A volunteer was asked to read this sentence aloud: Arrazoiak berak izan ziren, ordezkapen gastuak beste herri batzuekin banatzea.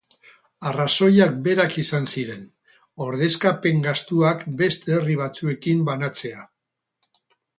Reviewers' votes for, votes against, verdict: 2, 2, rejected